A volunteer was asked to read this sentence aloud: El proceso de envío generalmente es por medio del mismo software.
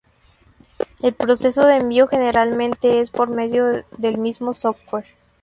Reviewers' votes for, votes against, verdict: 0, 2, rejected